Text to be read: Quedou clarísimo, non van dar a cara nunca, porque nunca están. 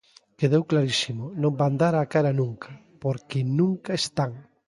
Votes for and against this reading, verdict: 2, 0, accepted